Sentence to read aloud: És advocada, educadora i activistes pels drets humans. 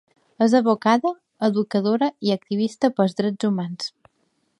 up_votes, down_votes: 2, 1